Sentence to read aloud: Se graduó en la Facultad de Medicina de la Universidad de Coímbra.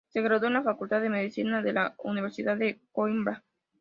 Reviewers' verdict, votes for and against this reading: accepted, 2, 0